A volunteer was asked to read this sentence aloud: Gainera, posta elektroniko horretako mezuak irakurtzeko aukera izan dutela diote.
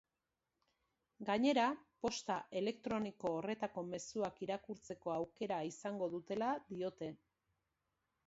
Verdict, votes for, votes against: rejected, 0, 2